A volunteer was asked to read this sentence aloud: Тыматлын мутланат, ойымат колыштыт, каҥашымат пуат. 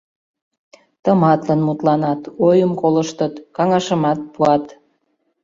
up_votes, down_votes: 0, 2